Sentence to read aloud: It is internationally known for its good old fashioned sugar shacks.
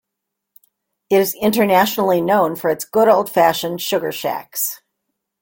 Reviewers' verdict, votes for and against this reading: accepted, 2, 0